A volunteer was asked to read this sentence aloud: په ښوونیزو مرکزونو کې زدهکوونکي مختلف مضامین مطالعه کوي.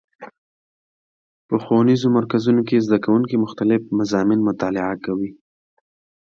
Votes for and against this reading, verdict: 2, 0, accepted